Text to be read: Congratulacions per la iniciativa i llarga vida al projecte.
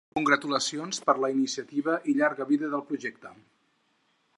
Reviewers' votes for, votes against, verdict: 2, 4, rejected